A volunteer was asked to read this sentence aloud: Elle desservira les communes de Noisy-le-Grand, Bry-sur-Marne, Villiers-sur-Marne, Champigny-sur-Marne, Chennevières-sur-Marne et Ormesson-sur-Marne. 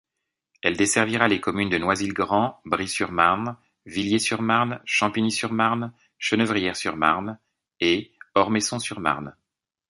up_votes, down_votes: 1, 2